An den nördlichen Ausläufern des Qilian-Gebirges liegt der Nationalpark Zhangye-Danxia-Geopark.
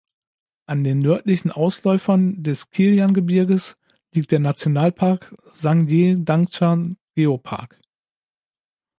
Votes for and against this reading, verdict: 1, 2, rejected